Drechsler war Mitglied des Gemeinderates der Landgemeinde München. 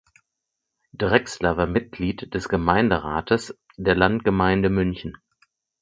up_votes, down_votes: 4, 0